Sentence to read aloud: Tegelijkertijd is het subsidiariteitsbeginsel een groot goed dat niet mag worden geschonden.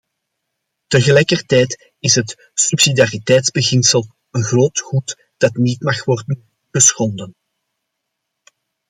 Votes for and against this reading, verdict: 2, 0, accepted